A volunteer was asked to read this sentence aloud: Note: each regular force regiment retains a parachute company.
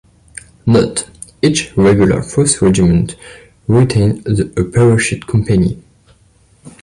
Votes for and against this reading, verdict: 2, 0, accepted